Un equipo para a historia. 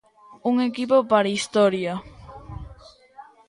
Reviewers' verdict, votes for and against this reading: accepted, 2, 0